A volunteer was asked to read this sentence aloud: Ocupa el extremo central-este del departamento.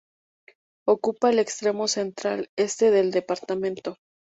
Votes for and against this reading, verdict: 2, 0, accepted